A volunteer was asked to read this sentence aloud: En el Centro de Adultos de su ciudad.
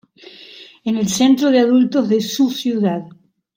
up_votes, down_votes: 0, 2